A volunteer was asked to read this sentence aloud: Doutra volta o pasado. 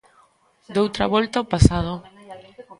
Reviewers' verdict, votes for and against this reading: accepted, 3, 0